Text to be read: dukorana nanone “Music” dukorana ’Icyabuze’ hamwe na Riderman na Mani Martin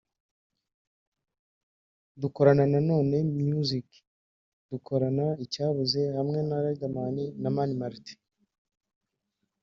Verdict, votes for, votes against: rejected, 1, 2